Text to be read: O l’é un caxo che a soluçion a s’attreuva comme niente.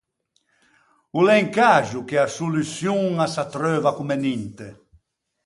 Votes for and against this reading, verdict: 2, 4, rejected